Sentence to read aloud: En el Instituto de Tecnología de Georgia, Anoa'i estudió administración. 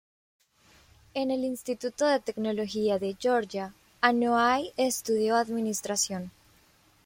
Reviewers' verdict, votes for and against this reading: accepted, 2, 0